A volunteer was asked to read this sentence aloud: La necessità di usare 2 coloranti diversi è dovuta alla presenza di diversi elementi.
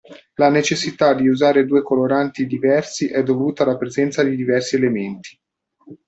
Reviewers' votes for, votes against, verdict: 0, 2, rejected